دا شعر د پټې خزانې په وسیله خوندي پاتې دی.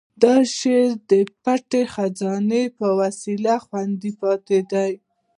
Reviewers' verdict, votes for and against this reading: accepted, 2, 0